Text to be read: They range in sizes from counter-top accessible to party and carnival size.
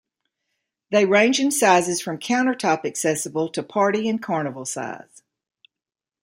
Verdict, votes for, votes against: rejected, 1, 2